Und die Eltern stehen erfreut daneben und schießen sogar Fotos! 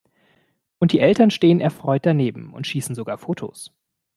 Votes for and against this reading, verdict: 2, 0, accepted